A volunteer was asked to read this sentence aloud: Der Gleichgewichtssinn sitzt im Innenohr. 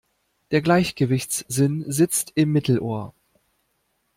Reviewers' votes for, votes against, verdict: 1, 2, rejected